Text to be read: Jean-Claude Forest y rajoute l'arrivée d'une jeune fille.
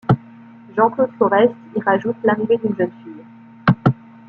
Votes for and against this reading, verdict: 1, 2, rejected